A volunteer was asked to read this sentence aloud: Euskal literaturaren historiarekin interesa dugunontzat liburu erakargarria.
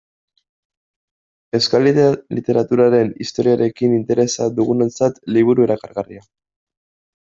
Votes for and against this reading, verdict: 0, 2, rejected